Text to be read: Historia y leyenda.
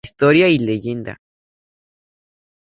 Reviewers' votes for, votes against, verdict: 2, 0, accepted